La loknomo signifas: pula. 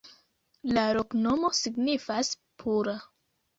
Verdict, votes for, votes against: rejected, 1, 2